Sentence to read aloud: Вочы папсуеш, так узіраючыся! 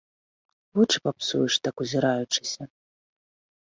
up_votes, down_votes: 2, 0